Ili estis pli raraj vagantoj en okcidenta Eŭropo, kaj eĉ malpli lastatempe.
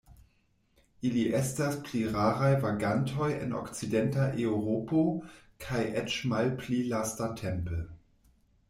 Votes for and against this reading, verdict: 1, 2, rejected